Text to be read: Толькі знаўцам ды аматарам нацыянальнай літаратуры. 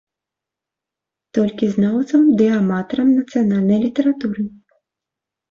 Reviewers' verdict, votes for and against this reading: accepted, 2, 0